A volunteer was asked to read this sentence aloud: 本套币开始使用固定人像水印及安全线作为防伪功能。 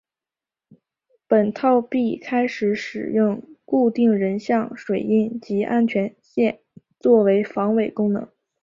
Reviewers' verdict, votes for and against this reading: rejected, 0, 2